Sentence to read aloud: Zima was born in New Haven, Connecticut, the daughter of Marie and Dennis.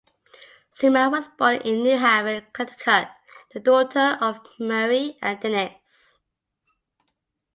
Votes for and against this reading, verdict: 1, 2, rejected